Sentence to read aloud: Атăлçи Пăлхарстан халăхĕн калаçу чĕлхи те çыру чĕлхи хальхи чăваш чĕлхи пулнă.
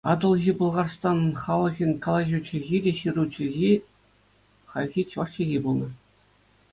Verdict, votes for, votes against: accepted, 2, 0